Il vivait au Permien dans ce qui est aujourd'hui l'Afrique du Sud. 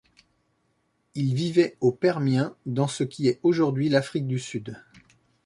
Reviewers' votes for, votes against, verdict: 2, 0, accepted